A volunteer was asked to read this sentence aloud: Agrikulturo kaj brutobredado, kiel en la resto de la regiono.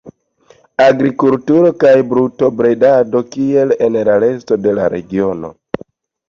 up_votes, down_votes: 2, 0